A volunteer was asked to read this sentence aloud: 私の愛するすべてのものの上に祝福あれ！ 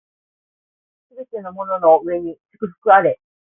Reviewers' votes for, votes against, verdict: 0, 2, rejected